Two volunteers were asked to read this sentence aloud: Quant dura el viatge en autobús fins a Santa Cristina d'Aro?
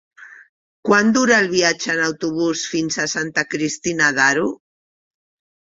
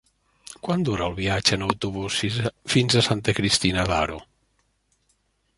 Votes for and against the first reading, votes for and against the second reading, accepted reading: 4, 0, 0, 2, first